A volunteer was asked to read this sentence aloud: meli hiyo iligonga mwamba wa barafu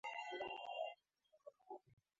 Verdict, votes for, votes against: rejected, 0, 2